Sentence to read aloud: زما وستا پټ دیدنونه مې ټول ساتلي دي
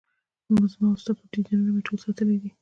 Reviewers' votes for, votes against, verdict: 2, 1, accepted